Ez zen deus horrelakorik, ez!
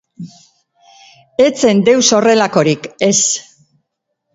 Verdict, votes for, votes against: accepted, 3, 1